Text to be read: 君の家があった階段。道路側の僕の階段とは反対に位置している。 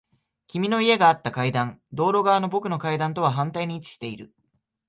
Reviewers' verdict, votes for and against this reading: accepted, 3, 0